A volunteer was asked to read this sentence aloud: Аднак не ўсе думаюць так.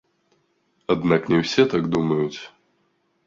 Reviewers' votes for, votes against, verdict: 0, 2, rejected